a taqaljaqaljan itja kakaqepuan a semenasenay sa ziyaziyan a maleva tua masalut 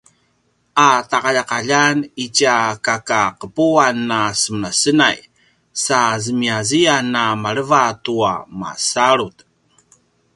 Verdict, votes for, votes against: rejected, 1, 2